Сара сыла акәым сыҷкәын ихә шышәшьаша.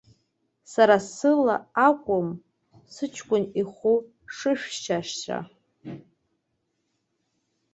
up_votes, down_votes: 2, 1